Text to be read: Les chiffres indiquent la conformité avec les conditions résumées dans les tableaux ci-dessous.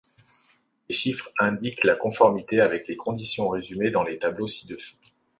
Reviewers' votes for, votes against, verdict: 2, 0, accepted